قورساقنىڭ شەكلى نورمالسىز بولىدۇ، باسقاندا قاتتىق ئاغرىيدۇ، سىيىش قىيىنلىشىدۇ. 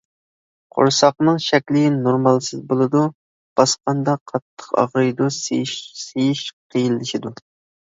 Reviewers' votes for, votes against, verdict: 0, 2, rejected